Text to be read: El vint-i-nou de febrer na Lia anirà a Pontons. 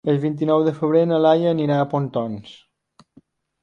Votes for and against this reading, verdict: 0, 2, rejected